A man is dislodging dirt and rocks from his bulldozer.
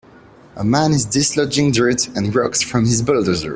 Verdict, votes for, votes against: rejected, 0, 2